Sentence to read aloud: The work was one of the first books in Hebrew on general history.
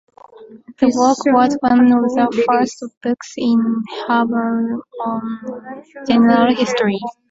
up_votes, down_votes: 1, 2